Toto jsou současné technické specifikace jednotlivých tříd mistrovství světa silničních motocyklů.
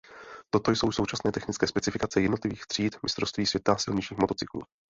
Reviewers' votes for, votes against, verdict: 2, 0, accepted